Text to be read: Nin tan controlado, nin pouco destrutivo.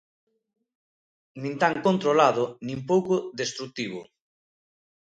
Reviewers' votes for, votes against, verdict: 2, 0, accepted